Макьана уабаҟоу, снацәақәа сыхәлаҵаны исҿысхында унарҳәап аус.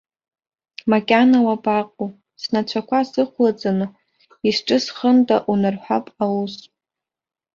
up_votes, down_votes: 3, 0